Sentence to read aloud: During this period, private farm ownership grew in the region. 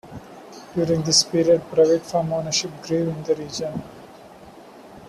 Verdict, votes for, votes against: accepted, 2, 0